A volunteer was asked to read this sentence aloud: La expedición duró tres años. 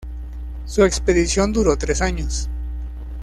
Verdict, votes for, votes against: rejected, 1, 2